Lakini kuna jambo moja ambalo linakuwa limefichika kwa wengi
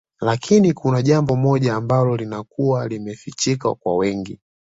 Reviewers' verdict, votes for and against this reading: accepted, 2, 0